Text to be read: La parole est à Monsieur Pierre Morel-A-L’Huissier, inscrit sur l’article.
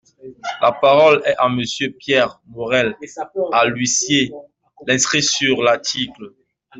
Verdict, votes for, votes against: accepted, 2, 1